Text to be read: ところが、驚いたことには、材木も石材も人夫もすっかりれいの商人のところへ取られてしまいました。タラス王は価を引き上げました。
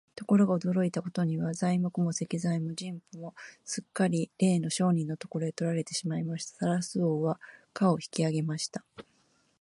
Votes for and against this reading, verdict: 2, 0, accepted